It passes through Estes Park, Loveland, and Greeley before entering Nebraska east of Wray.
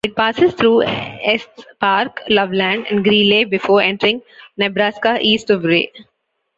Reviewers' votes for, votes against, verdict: 2, 1, accepted